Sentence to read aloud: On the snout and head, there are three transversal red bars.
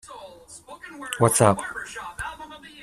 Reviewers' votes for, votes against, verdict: 0, 2, rejected